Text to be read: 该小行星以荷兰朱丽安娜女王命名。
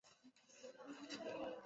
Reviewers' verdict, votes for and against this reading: rejected, 0, 2